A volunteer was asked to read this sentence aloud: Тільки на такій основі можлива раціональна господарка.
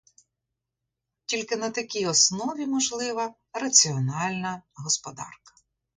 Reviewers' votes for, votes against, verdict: 2, 0, accepted